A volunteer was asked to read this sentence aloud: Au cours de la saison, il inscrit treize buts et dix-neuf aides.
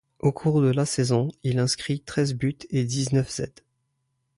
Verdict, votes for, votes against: rejected, 1, 2